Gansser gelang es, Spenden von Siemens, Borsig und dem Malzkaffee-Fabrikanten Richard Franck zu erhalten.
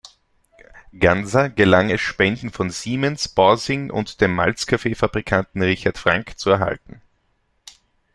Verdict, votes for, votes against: rejected, 0, 2